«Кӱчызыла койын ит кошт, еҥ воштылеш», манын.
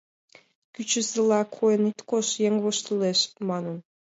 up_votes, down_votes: 2, 1